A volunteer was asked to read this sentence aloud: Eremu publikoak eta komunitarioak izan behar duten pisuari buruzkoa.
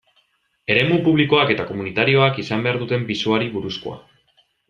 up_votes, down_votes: 2, 0